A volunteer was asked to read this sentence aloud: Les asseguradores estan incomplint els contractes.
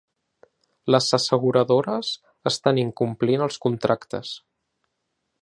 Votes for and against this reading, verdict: 2, 0, accepted